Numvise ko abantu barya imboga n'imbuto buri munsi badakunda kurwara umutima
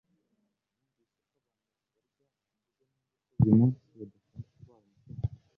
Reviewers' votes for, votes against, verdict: 1, 2, rejected